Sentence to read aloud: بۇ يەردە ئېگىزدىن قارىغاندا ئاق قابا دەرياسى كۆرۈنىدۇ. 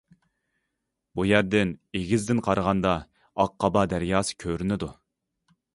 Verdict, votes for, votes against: rejected, 0, 2